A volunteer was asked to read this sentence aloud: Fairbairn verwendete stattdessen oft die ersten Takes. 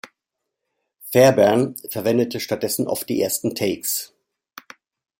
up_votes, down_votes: 2, 0